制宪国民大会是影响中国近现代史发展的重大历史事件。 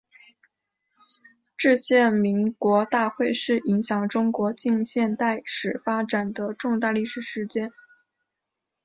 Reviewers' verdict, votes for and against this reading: accepted, 2, 1